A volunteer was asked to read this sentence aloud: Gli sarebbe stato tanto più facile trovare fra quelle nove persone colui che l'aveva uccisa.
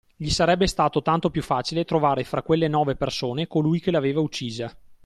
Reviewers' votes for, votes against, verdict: 2, 1, accepted